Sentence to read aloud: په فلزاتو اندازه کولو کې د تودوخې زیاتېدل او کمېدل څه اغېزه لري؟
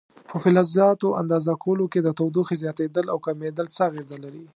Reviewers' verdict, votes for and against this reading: accepted, 2, 0